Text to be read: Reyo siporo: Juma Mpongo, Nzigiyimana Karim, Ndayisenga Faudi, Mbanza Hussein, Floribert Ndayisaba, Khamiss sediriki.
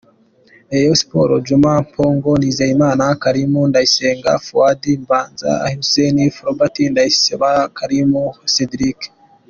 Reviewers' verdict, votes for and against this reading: accepted, 2, 0